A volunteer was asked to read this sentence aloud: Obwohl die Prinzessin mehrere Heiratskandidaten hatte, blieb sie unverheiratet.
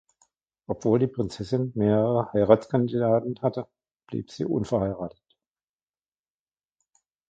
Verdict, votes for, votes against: rejected, 1, 2